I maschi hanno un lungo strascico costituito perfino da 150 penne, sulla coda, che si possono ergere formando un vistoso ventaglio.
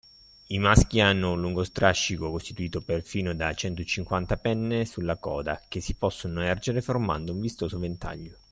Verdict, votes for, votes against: rejected, 0, 2